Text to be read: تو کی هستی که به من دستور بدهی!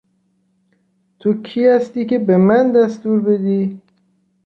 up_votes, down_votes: 0, 2